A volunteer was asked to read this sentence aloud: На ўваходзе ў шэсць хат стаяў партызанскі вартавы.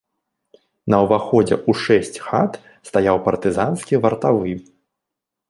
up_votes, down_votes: 1, 2